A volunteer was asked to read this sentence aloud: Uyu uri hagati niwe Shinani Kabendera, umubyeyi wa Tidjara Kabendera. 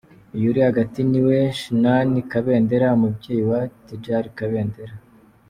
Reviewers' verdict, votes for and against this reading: accepted, 2, 1